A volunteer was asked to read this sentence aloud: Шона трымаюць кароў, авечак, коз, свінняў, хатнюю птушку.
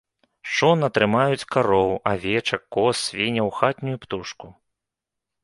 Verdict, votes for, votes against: accepted, 2, 0